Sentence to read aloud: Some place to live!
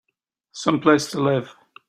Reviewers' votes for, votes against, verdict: 3, 0, accepted